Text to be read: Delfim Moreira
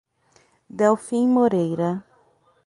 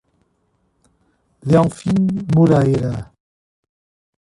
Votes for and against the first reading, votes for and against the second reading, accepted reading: 6, 0, 1, 2, first